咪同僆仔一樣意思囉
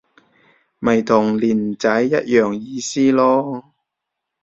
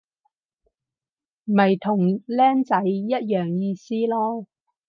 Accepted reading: second